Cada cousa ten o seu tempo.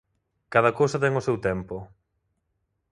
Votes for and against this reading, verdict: 2, 0, accepted